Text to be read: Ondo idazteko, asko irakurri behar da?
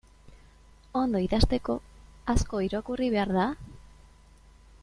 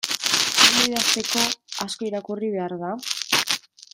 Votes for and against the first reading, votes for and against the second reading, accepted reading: 3, 0, 1, 2, first